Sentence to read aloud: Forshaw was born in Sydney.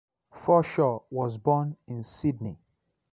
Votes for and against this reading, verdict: 2, 0, accepted